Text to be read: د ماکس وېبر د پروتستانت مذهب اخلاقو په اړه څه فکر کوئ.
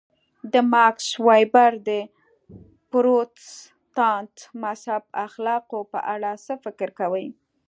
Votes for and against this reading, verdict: 1, 3, rejected